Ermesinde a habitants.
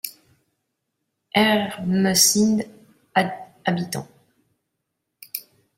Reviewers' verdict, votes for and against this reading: rejected, 0, 2